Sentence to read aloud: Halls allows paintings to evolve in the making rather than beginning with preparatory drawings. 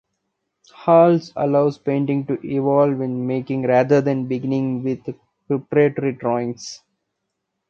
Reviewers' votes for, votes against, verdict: 0, 2, rejected